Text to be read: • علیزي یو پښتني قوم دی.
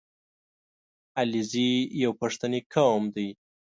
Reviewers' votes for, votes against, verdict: 2, 0, accepted